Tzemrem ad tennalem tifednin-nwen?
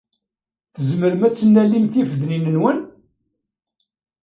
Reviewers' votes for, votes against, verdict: 1, 2, rejected